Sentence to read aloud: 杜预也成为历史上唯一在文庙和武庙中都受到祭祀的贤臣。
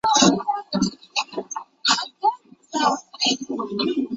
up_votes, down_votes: 0, 2